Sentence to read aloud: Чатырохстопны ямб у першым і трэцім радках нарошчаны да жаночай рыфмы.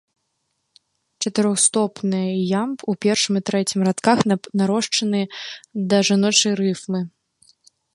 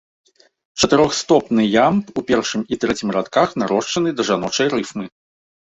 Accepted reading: second